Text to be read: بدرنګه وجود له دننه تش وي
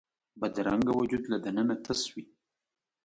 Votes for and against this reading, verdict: 2, 0, accepted